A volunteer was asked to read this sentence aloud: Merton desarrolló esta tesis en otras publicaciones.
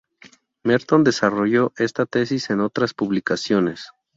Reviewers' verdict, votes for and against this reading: accepted, 2, 0